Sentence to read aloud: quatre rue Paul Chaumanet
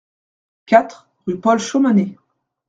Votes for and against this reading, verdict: 1, 2, rejected